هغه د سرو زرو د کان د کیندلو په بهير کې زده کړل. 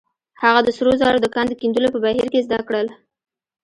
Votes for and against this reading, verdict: 1, 2, rejected